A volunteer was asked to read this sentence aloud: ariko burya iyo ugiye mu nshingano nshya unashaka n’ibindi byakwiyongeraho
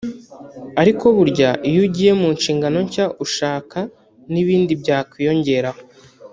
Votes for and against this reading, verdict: 1, 2, rejected